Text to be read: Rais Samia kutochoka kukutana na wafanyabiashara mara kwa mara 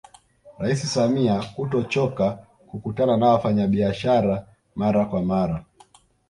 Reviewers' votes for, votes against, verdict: 2, 0, accepted